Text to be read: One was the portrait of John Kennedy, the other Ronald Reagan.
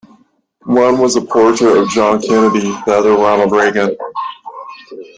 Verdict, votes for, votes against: accepted, 2, 0